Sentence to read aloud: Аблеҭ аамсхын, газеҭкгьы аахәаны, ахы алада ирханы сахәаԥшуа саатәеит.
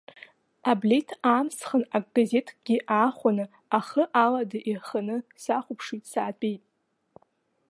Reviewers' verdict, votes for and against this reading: rejected, 1, 2